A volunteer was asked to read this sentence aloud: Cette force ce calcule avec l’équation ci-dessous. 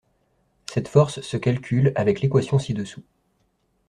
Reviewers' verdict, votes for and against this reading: accepted, 2, 0